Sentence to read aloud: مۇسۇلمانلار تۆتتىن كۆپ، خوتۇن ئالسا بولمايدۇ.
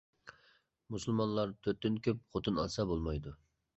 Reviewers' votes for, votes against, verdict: 2, 0, accepted